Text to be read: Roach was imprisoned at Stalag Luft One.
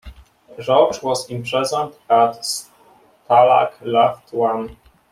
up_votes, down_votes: 1, 2